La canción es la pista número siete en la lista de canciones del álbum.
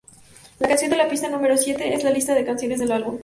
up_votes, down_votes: 2, 4